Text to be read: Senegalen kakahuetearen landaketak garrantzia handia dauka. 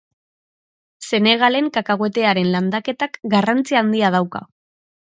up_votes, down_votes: 2, 0